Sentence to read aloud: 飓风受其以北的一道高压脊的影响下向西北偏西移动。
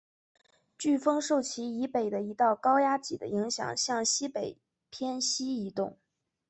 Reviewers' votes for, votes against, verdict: 2, 0, accepted